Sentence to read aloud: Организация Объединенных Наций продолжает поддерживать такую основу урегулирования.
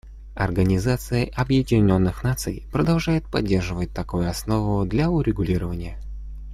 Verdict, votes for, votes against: rejected, 1, 2